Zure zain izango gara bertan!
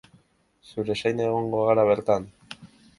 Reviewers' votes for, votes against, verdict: 1, 2, rejected